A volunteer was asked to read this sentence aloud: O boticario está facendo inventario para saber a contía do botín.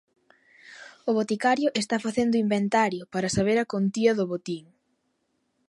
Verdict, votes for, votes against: accepted, 2, 0